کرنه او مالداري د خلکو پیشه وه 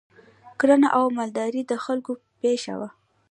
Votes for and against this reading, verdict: 1, 3, rejected